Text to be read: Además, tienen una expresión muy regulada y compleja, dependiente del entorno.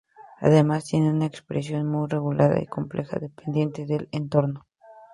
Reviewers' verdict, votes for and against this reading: accepted, 2, 0